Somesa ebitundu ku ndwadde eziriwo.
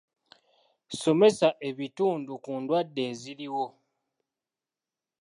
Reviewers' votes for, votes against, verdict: 3, 0, accepted